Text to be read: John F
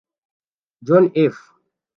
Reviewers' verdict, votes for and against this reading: rejected, 0, 2